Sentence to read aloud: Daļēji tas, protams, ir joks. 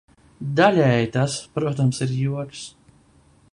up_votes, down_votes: 2, 0